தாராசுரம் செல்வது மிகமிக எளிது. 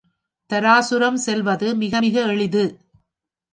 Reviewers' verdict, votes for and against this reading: rejected, 1, 2